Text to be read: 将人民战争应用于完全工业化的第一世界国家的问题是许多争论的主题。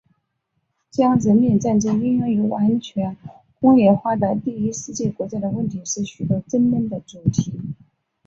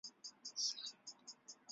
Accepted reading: first